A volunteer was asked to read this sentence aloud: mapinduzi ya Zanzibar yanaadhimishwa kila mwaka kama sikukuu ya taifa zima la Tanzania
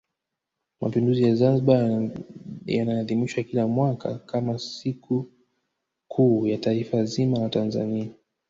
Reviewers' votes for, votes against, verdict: 1, 2, rejected